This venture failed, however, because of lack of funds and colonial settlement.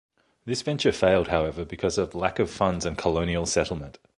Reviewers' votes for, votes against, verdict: 2, 0, accepted